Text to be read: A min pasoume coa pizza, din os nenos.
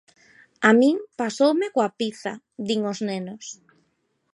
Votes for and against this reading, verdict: 2, 0, accepted